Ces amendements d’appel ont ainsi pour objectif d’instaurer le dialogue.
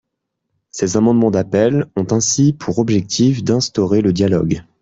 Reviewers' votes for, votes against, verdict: 2, 0, accepted